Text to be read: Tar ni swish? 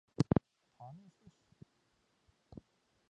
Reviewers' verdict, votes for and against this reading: rejected, 0, 2